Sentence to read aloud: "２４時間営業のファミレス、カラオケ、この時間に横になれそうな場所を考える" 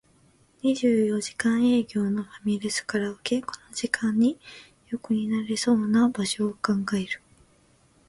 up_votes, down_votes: 0, 2